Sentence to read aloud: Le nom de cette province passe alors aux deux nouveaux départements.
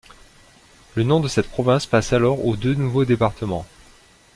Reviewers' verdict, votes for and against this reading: accepted, 2, 0